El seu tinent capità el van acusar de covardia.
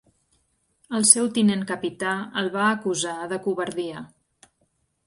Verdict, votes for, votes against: rejected, 1, 2